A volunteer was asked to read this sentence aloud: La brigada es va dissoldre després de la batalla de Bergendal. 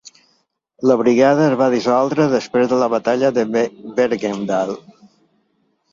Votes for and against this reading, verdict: 1, 2, rejected